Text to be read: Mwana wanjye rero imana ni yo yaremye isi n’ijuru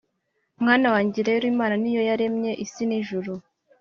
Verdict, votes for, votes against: accepted, 2, 0